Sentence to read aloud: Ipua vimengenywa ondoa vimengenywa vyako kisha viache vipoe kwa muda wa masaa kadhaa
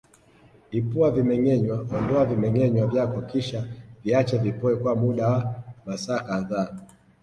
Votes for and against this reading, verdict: 2, 1, accepted